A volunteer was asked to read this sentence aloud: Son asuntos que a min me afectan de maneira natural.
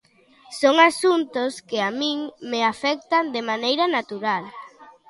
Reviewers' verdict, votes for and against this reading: accepted, 2, 0